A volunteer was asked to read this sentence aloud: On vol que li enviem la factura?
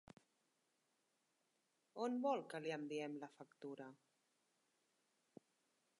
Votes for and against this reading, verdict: 3, 1, accepted